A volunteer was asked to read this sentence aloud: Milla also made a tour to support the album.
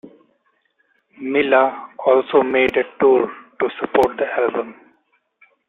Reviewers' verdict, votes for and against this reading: accepted, 2, 1